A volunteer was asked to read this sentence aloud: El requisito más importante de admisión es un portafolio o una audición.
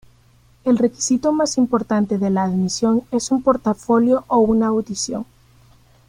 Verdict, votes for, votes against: rejected, 1, 2